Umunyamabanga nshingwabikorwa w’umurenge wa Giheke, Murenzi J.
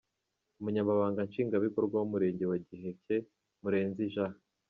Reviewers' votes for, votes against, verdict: 2, 0, accepted